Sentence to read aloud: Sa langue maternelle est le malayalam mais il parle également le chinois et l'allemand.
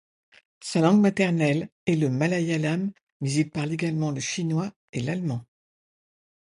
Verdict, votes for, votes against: accepted, 2, 0